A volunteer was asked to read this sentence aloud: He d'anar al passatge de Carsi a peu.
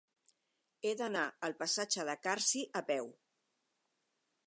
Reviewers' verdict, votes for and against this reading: accepted, 4, 0